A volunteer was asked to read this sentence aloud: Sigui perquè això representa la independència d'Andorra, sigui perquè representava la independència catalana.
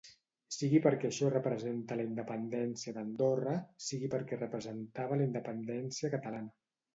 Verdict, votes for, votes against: accepted, 2, 0